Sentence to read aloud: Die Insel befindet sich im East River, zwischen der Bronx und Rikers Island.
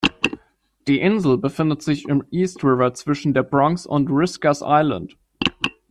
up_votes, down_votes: 0, 2